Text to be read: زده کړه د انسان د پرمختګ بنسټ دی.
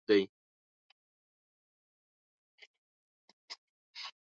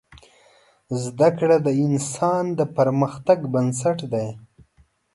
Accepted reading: second